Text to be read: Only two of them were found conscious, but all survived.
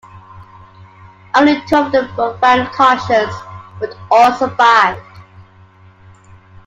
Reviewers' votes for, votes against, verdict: 2, 0, accepted